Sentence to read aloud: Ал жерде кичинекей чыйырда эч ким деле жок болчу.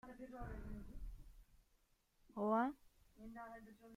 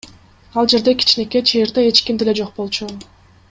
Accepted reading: second